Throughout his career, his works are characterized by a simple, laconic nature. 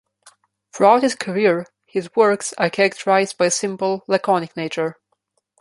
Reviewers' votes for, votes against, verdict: 2, 0, accepted